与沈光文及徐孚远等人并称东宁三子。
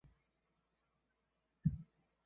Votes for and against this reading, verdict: 0, 2, rejected